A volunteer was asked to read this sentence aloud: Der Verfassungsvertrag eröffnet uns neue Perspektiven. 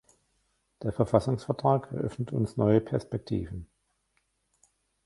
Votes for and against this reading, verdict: 1, 2, rejected